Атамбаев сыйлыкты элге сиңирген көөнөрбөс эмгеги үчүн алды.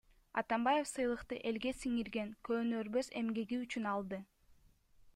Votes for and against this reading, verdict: 1, 2, rejected